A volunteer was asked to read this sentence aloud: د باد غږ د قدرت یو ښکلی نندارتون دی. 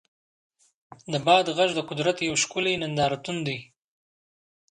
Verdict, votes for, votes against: accepted, 2, 1